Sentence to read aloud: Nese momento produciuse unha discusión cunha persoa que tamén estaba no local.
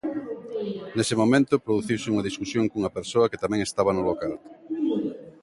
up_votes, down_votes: 2, 0